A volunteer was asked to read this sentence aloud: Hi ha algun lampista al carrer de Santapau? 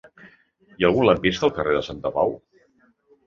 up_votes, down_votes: 2, 0